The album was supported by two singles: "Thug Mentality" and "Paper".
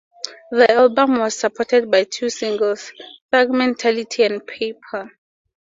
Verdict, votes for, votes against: accepted, 4, 0